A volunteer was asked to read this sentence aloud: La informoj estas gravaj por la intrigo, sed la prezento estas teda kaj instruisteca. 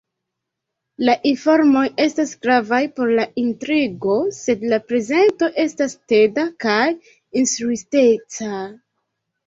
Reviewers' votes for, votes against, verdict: 2, 1, accepted